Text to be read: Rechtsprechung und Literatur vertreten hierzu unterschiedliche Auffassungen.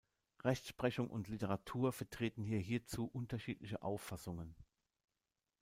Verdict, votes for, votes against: rejected, 1, 2